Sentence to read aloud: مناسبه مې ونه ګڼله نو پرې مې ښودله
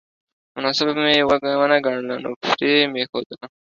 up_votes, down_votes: 2, 1